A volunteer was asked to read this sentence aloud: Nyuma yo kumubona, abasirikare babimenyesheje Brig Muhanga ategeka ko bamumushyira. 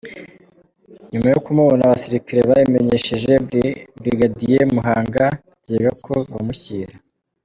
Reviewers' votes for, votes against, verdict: 0, 2, rejected